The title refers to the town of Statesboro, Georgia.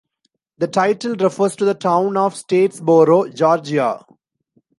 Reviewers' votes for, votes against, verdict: 2, 0, accepted